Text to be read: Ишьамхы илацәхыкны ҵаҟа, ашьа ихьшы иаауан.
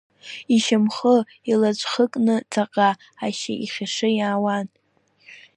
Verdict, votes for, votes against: rejected, 0, 2